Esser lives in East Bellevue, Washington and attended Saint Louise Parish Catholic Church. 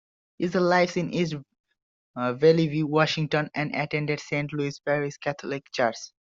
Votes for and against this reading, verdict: 0, 2, rejected